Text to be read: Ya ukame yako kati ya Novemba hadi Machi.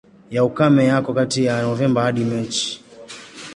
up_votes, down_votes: 1, 2